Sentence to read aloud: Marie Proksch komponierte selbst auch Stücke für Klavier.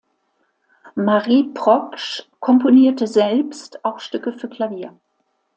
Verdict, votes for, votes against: accepted, 2, 0